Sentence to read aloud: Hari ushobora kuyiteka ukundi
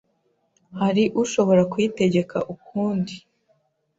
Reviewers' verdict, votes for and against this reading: rejected, 1, 2